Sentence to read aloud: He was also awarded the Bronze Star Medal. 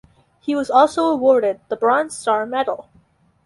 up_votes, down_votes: 4, 0